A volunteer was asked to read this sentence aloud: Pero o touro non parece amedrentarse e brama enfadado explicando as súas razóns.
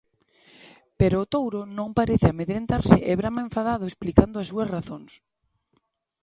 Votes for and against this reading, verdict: 2, 0, accepted